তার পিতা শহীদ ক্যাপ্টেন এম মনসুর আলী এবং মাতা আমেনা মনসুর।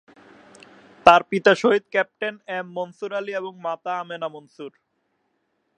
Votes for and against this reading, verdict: 0, 2, rejected